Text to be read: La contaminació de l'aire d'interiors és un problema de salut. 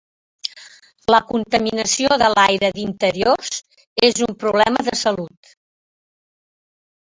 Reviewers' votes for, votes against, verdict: 1, 2, rejected